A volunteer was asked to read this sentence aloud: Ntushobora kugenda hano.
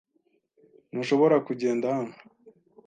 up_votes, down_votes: 2, 0